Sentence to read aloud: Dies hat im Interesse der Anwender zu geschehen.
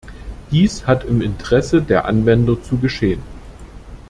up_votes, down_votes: 2, 0